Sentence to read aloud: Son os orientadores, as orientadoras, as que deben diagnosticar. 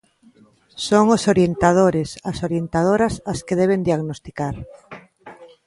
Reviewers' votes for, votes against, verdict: 3, 0, accepted